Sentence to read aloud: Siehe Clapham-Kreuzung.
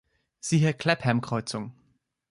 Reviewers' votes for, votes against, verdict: 2, 0, accepted